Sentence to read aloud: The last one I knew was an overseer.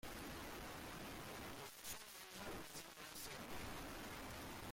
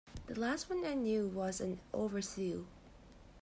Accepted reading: second